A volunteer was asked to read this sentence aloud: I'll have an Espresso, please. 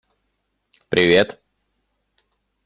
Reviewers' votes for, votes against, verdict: 0, 2, rejected